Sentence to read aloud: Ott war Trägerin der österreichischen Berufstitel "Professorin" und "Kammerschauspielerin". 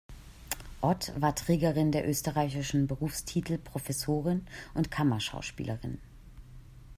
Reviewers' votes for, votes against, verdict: 2, 0, accepted